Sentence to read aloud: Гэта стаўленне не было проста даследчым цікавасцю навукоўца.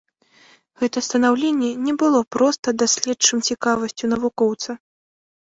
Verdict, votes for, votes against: rejected, 0, 5